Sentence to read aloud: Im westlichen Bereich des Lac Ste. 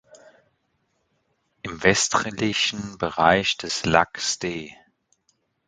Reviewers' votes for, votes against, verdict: 1, 2, rejected